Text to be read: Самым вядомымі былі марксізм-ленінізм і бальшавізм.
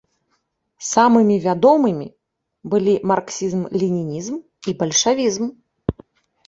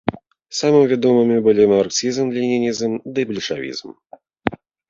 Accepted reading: first